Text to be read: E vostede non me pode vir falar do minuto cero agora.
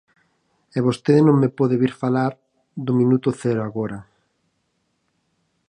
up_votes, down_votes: 4, 0